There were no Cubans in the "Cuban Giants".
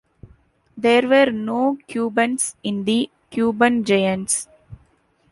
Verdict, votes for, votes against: accepted, 2, 0